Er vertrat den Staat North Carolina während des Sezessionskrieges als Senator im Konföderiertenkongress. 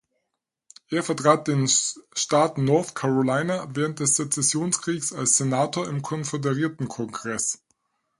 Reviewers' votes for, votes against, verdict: 2, 4, rejected